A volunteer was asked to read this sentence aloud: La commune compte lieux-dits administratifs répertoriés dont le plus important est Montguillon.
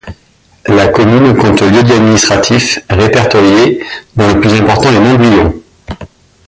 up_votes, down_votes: 1, 2